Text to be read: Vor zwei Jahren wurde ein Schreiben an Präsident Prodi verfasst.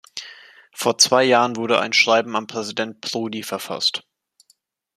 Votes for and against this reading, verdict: 2, 0, accepted